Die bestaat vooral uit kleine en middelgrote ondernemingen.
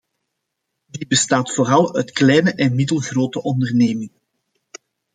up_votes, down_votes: 1, 2